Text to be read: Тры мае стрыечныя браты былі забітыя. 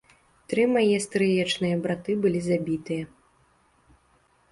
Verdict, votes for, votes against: accepted, 2, 0